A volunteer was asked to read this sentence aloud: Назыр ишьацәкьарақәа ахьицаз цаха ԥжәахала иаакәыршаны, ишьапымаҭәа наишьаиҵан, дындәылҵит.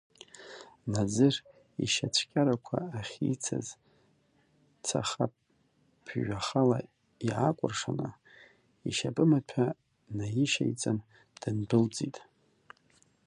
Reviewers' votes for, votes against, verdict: 0, 2, rejected